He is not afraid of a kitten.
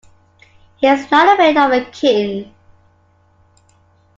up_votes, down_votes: 0, 2